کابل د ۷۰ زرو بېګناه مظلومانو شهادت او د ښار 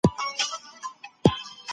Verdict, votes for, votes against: rejected, 0, 2